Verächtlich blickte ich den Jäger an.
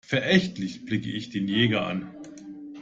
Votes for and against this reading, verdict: 0, 2, rejected